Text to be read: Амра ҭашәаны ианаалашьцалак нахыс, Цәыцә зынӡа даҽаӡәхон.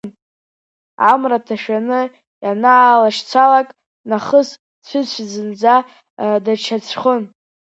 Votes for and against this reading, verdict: 2, 1, accepted